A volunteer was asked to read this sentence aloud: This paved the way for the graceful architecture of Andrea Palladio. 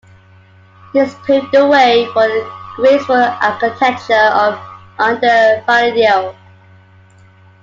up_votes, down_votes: 0, 2